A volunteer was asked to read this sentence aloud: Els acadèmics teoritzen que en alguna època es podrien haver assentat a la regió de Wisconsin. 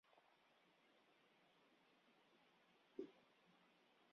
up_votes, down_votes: 0, 2